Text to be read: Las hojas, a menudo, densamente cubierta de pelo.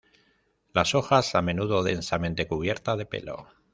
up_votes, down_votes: 2, 0